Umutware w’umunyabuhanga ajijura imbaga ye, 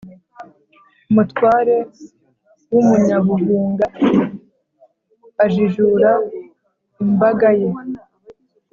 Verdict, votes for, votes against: rejected, 1, 2